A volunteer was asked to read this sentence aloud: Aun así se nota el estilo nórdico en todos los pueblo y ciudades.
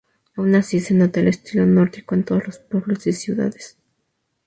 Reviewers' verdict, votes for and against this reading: rejected, 2, 2